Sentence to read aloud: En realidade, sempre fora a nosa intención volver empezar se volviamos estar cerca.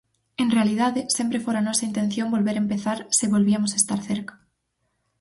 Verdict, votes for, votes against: rejected, 2, 2